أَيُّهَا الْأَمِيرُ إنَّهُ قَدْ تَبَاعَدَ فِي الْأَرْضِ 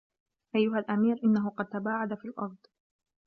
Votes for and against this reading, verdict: 2, 0, accepted